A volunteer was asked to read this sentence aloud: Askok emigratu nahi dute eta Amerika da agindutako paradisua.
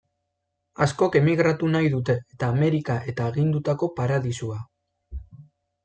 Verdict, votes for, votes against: rejected, 0, 2